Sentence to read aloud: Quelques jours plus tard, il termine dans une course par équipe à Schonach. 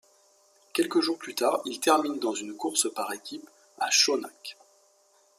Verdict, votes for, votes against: accepted, 2, 0